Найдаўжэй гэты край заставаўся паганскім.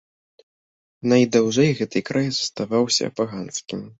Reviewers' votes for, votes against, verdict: 2, 0, accepted